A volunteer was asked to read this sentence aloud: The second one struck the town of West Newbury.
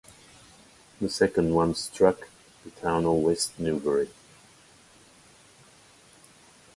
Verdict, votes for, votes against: accepted, 2, 0